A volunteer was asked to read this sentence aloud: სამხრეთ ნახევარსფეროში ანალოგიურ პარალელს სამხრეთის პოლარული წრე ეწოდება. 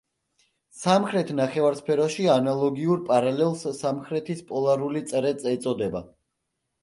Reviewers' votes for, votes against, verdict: 1, 2, rejected